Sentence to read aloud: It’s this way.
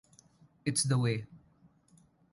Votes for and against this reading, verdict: 0, 2, rejected